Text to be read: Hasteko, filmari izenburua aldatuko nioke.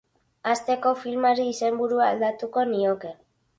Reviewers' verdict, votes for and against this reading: accepted, 2, 0